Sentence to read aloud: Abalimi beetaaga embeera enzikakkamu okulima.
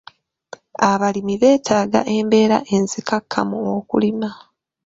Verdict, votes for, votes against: accepted, 2, 0